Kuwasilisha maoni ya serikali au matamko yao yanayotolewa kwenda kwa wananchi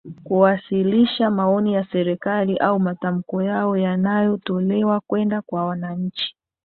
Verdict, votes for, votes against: accepted, 2, 0